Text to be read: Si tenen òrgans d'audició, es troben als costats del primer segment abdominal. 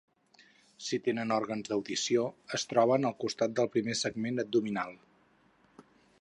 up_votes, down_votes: 4, 2